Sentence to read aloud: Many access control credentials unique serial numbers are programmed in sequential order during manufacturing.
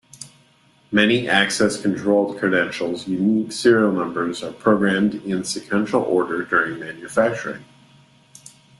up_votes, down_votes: 2, 0